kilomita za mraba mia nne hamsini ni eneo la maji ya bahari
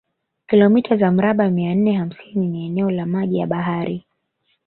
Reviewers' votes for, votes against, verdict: 0, 2, rejected